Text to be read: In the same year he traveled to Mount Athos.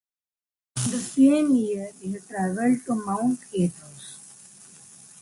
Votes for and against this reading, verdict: 2, 0, accepted